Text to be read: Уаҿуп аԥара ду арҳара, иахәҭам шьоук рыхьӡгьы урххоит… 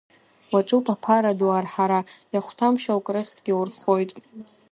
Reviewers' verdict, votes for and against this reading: rejected, 1, 2